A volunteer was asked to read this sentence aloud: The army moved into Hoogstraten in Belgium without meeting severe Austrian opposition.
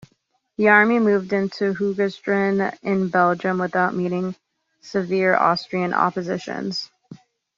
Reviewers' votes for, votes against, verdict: 1, 2, rejected